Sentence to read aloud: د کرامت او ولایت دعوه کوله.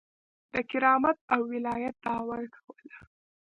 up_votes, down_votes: 2, 0